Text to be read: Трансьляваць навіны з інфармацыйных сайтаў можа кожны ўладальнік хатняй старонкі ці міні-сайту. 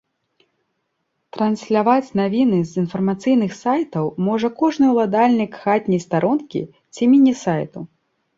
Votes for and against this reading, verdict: 2, 0, accepted